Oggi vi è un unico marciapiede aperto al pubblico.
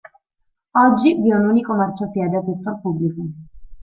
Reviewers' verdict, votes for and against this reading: rejected, 1, 2